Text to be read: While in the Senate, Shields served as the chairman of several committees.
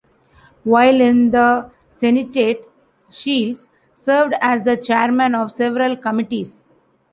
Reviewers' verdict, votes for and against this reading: rejected, 0, 2